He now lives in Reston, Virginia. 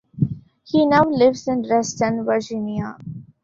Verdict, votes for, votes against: rejected, 0, 2